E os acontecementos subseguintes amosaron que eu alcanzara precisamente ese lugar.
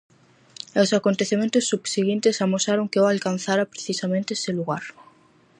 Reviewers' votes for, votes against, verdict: 4, 0, accepted